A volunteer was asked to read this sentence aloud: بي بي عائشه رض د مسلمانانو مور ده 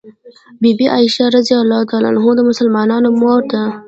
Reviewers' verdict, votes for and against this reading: rejected, 0, 2